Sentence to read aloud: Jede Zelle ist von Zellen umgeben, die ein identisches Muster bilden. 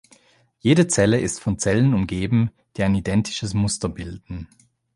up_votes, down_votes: 2, 0